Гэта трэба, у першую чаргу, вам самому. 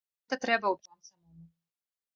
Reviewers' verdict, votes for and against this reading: rejected, 0, 2